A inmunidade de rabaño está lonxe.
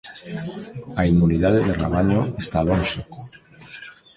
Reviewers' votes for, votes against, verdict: 1, 2, rejected